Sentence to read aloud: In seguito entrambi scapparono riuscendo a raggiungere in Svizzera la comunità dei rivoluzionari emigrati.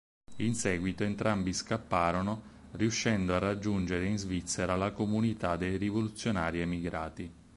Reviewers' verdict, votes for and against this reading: accepted, 6, 0